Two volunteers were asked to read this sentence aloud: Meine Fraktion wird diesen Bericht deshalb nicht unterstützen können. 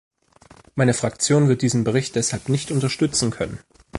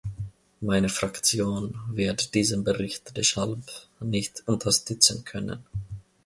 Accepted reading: first